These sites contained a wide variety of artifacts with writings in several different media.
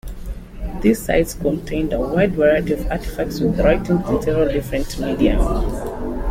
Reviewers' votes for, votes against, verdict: 2, 1, accepted